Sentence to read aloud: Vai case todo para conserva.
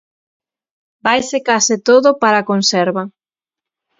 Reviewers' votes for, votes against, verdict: 3, 6, rejected